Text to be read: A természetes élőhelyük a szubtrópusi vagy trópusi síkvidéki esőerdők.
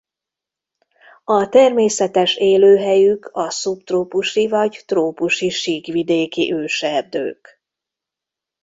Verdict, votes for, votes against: rejected, 0, 2